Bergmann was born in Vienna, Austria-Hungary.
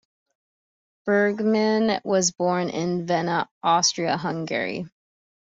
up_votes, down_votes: 1, 2